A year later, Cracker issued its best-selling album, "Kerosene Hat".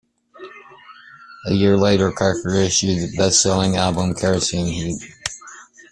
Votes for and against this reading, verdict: 1, 2, rejected